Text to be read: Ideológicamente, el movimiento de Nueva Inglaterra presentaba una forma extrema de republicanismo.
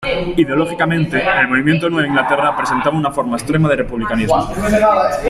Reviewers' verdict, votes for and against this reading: accepted, 2, 1